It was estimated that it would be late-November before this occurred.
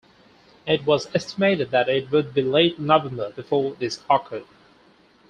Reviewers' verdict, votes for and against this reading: accepted, 2, 0